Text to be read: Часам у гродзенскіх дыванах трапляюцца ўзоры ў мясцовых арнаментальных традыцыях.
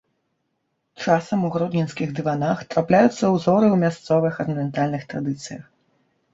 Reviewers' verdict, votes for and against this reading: rejected, 0, 2